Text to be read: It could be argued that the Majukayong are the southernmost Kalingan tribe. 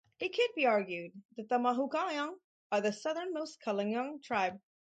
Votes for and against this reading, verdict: 0, 2, rejected